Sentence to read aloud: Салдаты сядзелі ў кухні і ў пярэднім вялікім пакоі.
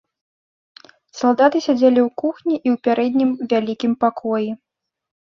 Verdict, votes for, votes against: accepted, 2, 0